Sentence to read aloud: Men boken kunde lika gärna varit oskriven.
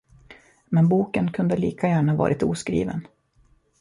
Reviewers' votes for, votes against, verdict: 2, 0, accepted